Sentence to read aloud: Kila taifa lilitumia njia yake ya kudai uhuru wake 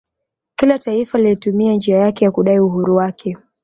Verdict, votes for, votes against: accepted, 2, 1